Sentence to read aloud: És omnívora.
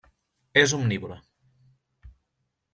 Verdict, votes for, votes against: accepted, 2, 1